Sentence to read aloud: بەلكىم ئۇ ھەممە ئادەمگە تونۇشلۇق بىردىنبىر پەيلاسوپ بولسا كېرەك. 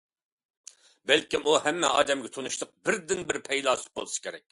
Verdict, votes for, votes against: accepted, 2, 0